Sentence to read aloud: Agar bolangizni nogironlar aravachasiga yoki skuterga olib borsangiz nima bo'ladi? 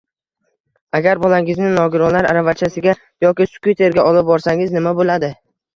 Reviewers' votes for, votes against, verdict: 2, 1, accepted